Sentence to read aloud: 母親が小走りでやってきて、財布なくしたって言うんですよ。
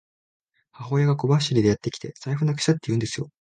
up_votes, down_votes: 2, 0